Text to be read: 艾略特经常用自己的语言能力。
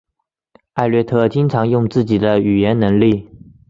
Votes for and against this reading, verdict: 3, 0, accepted